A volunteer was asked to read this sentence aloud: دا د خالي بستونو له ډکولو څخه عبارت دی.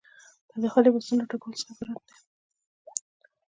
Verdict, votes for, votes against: accepted, 2, 1